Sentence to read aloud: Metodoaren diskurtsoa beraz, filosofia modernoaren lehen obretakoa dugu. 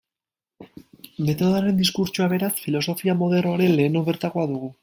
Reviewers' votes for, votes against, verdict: 0, 2, rejected